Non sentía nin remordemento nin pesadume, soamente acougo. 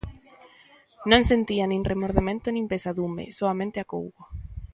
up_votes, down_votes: 3, 0